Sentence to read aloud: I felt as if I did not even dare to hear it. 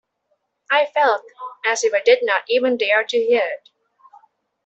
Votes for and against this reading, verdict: 2, 0, accepted